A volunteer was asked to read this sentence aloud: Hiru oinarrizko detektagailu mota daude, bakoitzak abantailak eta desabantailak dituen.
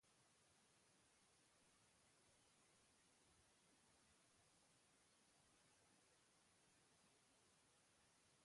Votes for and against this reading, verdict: 0, 2, rejected